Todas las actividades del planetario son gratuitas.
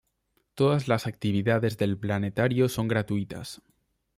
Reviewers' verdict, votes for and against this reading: accepted, 2, 0